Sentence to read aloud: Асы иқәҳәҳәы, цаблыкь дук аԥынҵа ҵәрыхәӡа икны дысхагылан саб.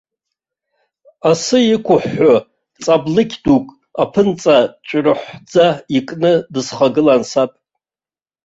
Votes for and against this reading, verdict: 1, 2, rejected